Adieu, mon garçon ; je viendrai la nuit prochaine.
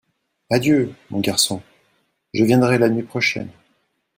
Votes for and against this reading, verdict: 2, 0, accepted